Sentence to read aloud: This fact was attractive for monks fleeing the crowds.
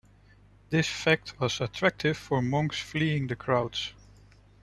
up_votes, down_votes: 0, 2